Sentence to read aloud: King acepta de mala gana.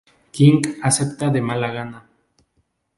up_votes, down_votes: 2, 0